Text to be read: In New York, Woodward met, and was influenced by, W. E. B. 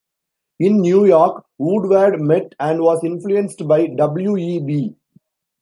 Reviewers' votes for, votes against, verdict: 2, 0, accepted